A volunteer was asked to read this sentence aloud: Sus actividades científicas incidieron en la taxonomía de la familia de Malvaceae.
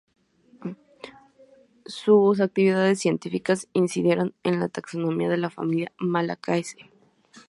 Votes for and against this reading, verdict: 0, 2, rejected